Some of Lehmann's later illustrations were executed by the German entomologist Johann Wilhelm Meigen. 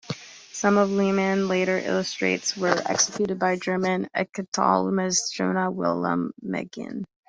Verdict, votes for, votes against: rejected, 0, 2